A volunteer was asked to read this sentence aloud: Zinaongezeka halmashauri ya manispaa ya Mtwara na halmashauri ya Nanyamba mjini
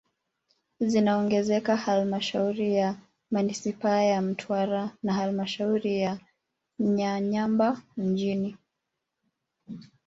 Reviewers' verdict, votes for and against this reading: rejected, 1, 2